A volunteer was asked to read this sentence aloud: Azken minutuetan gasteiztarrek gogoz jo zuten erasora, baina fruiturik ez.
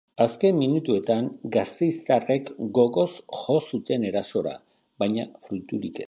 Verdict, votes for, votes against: rejected, 1, 2